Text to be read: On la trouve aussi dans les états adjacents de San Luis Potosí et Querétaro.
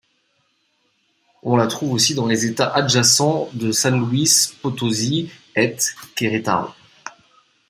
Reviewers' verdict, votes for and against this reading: rejected, 0, 2